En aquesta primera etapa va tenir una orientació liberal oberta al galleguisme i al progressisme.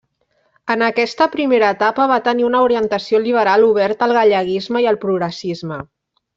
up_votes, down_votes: 2, 0